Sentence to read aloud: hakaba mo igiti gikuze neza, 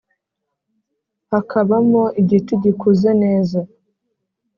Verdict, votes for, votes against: accepted, 4, 0